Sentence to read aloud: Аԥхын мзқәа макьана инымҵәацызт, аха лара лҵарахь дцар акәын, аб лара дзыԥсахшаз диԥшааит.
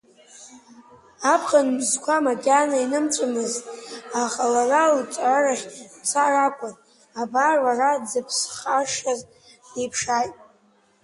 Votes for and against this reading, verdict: 1, 3, rejected